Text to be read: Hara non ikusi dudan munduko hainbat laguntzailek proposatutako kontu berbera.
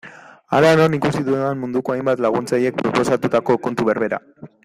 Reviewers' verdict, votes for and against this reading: rejected, 1, 2